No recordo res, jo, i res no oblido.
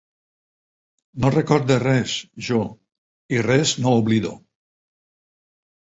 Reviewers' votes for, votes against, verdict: 4, 6, rejected